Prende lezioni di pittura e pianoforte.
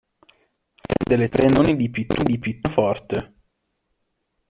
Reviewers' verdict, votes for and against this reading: rejected, 0, 2